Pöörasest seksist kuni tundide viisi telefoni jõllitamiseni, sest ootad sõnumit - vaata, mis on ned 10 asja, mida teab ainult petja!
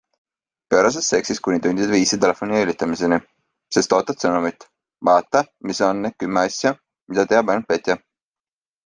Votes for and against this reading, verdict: 0, 2, rejected